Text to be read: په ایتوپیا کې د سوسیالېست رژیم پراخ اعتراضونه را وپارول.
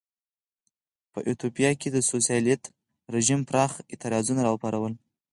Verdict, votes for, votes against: accepted, 4, 0